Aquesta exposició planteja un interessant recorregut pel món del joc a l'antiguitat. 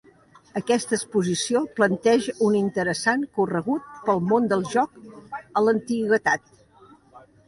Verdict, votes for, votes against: rejected, 1, 2